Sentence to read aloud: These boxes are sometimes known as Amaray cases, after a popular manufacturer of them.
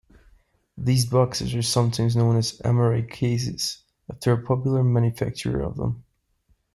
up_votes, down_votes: 1, 2